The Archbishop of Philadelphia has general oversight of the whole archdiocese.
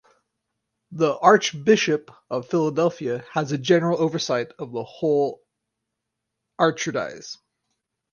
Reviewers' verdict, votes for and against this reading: rejected, 2, 4